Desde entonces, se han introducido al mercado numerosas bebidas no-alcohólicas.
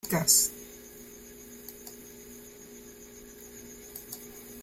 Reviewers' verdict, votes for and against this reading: rejected, 0, 2